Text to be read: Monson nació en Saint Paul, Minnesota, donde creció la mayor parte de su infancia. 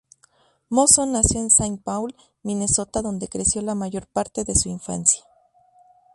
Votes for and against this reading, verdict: 0, 2, rejected